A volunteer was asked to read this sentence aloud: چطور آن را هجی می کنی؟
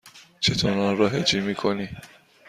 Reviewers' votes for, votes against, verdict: 2, 0, accepted